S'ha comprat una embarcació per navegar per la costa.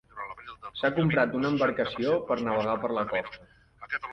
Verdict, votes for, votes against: rejected, 0, 3